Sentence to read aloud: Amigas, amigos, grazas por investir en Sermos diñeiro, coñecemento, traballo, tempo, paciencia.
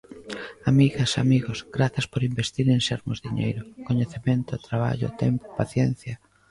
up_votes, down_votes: 3, 1